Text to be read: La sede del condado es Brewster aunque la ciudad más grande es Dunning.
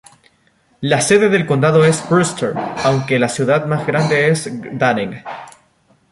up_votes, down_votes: 0, 2